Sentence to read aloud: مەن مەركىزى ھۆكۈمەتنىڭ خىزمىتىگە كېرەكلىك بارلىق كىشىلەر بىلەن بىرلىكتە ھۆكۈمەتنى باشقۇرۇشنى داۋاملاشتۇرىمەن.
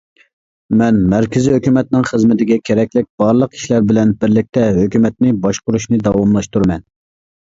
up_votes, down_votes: 2, 0